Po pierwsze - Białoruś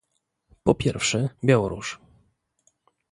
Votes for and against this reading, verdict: 2, 0, accepted